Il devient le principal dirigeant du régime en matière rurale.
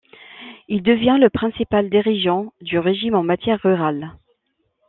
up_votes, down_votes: 2, 0